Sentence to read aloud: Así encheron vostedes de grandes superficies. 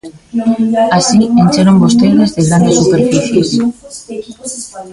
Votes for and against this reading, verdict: 0, 2, rejected